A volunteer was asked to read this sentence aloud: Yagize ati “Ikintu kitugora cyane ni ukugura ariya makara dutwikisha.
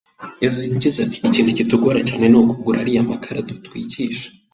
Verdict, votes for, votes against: rejected, 1, 2